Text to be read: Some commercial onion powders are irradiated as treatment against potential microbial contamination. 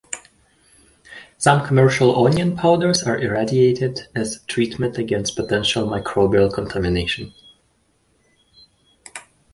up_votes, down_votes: 2, 1